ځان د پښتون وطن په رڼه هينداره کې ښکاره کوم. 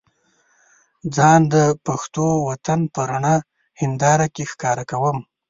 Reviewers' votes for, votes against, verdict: 0, 2, rejected